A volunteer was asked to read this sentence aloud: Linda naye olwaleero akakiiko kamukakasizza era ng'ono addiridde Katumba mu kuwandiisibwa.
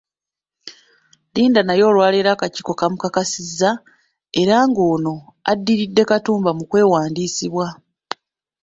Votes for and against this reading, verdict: 1, 2, rejected